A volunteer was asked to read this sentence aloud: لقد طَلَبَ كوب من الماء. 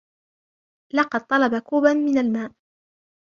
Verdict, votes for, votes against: rejected, 2, 3